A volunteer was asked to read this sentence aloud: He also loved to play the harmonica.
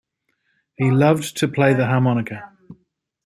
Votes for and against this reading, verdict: 0, 2, rejected